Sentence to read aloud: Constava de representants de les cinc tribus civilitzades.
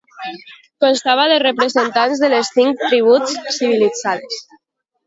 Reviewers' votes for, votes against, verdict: 0, 2, rejected